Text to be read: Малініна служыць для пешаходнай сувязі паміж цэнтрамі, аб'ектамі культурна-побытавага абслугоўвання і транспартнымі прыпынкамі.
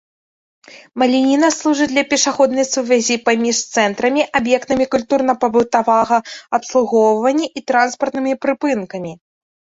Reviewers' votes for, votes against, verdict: 1, 2, rejected